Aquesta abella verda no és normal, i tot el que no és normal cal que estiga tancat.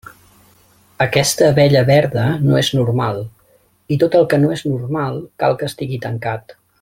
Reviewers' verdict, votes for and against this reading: rejected, 1, 2